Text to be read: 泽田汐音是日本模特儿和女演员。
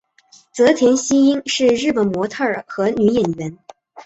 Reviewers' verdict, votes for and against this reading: accepted, 3, 0